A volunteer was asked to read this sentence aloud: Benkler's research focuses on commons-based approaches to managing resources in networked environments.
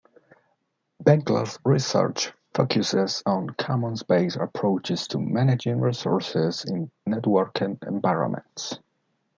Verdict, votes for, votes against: rejected, 1, 2